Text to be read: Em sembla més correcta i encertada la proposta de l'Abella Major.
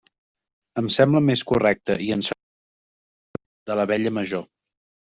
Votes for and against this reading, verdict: 0, 2, rejected